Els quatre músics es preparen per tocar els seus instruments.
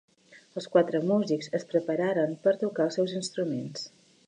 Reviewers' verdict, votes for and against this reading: rejected, 0, 2